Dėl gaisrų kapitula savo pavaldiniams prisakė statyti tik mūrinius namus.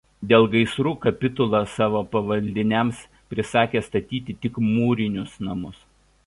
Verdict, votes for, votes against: accepted, 2, 0